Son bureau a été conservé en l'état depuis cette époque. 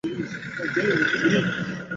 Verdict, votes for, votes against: rejected, 0, 3